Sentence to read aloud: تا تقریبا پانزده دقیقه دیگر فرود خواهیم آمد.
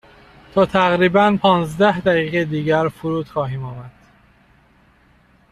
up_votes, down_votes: 2, 0